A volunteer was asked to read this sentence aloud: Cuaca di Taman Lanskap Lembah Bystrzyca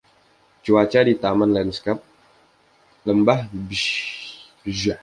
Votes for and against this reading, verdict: 0, 2, rejected